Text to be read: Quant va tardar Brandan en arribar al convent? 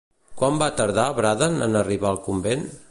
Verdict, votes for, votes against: rejected, 0, 2